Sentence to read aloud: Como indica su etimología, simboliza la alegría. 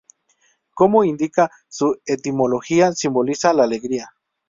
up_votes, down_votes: 2, 0